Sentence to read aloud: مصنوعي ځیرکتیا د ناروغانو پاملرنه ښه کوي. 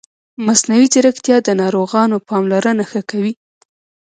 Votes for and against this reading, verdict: 0, 2, rejected